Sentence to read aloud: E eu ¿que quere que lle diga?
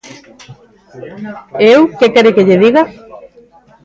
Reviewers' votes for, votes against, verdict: 0, 2, rejected